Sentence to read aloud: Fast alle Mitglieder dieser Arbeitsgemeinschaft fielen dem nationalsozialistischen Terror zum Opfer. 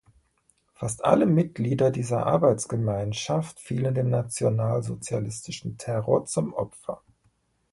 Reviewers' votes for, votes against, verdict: 3, 1, accepted